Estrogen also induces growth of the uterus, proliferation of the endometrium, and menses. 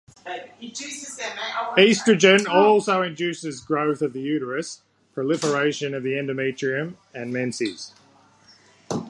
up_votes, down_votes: 1, 2